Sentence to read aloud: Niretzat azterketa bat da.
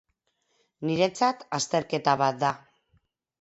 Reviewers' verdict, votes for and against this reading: accepted, 4, 0